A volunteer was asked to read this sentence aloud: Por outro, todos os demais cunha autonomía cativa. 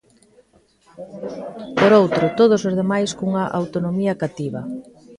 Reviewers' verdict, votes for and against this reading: accepted, 2, 0